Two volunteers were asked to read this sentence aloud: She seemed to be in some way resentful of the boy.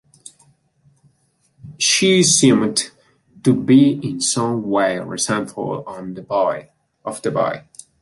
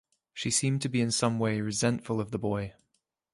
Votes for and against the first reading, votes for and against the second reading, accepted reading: 0, 2, 2, 0, second